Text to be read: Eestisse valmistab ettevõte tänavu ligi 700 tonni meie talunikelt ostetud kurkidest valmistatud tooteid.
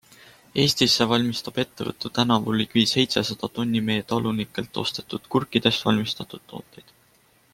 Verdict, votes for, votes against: rejected, 0, 2